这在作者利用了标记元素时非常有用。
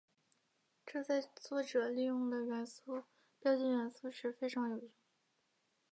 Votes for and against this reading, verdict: 2, 3, rejected